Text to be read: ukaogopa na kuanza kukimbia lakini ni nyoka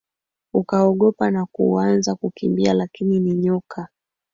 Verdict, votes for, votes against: accepted, 3, 1